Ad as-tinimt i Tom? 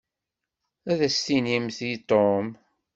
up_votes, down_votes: 2, 1